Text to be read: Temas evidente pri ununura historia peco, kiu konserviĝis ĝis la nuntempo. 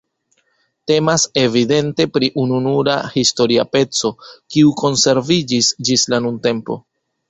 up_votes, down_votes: 2, 0